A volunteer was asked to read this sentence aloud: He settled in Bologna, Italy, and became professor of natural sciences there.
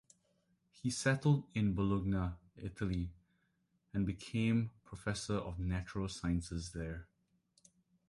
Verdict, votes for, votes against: accepted, 2, 0